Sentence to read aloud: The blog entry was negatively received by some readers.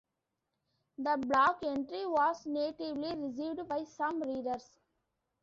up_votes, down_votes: 1, 2